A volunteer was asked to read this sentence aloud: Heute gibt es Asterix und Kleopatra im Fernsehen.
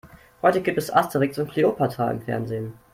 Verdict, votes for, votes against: accepted, 2, 0